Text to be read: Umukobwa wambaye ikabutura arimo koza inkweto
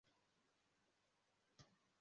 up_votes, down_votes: 0, 2